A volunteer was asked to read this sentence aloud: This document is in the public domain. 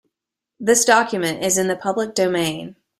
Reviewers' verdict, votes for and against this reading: accepted, 2, 0